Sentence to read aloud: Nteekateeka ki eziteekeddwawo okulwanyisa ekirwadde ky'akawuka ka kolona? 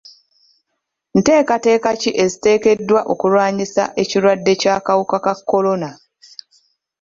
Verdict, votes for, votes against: accepted, 2, 0